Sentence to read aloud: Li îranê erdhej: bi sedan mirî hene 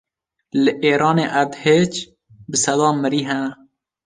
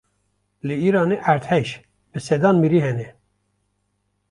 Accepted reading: second